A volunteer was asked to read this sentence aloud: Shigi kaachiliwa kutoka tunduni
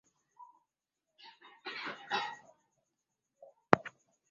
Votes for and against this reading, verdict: 1, 2, rejected